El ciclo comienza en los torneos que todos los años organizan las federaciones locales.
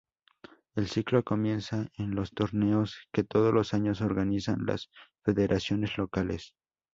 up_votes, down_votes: 2, 0